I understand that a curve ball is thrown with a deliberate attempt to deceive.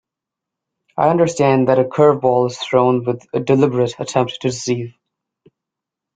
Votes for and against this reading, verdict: 0, 2, rejected